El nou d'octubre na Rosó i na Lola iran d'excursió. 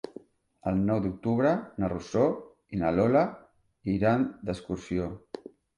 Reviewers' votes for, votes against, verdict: 0, 2, rejected